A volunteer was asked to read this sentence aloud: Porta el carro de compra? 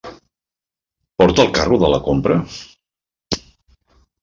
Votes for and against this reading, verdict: 0, 2, rejected